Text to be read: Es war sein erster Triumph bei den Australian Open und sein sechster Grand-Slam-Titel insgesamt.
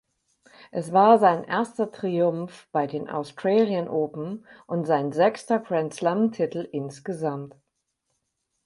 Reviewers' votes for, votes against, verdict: 4, 0, accepted